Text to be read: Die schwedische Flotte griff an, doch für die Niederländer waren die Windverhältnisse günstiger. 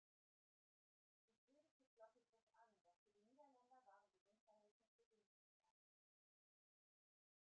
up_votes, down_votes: 0, 2